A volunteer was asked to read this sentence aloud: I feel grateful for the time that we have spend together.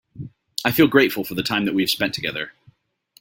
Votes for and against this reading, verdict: 3, 0, accepted